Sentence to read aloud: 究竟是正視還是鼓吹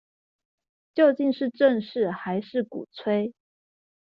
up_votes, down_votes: 2, 0